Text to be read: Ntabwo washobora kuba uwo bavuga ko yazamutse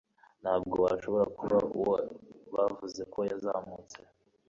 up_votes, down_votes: 2, 1